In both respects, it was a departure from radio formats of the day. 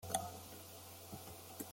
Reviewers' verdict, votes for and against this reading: rejected, 0, 2